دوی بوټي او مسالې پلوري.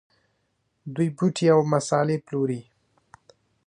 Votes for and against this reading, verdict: 2, 0, accepted